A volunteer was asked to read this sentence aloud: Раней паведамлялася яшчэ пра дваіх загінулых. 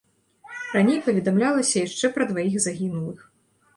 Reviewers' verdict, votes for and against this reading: rejected, 0, 2